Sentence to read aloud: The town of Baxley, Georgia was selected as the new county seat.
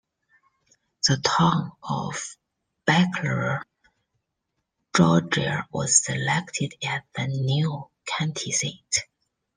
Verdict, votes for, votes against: rejected, 0, 2